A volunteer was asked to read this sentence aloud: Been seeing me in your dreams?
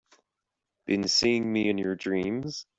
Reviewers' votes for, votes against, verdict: 2, 0, accepted